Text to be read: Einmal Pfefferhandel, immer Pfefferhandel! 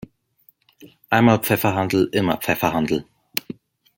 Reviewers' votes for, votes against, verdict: 2, 0, accepted